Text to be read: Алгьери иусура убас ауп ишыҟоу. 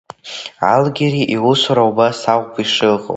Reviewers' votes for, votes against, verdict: 2, 1, accepted